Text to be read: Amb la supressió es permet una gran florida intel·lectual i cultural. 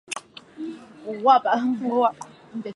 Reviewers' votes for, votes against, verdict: 0, 2, rejected